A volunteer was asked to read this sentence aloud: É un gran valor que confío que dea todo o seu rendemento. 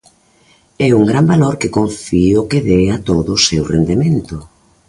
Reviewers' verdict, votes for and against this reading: accepted, 2, 0